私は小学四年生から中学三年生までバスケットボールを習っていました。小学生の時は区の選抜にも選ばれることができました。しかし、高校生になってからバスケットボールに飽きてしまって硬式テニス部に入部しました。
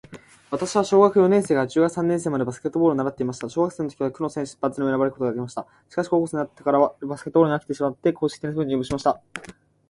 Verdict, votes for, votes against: accepted, 2, 0